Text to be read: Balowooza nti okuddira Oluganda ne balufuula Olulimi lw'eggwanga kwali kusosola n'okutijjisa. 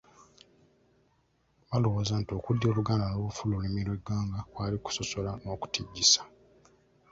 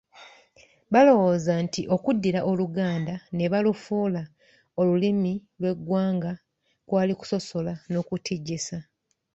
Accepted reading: second